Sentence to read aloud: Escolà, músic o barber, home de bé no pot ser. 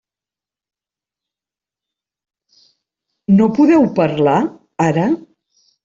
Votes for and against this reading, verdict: 0, 2, rejected